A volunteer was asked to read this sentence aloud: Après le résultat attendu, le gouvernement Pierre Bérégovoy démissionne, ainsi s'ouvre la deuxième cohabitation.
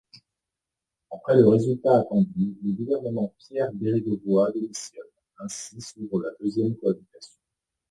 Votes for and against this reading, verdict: 2, 1, accepted